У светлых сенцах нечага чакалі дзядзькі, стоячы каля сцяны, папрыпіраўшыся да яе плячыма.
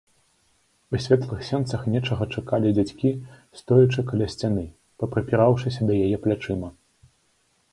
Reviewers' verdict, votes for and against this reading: accepted, 2, 0